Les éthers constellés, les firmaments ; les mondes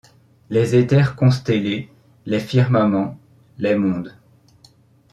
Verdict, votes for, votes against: accepted, 2, 0